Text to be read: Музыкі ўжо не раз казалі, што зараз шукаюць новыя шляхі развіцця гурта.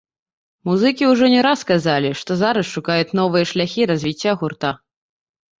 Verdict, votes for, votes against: accepted, 2, 0